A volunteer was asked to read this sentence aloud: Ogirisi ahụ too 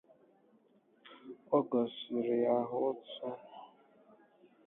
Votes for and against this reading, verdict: 0, 7, rejected